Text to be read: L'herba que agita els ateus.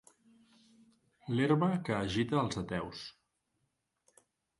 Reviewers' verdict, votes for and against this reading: accepted, 2, 0